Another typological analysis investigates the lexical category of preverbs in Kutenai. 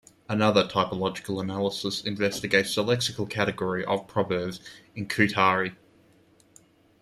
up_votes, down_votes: 1, 2